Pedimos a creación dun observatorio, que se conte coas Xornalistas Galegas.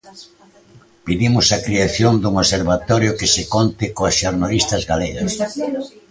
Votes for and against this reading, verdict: 2, 1, accepted